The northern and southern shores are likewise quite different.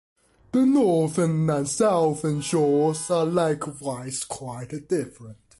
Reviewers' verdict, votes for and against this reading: accepted, 2, 0